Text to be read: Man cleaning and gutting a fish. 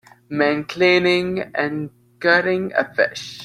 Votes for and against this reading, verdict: 2, 0, accepted